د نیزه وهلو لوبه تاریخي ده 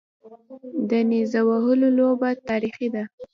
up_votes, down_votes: 1, 2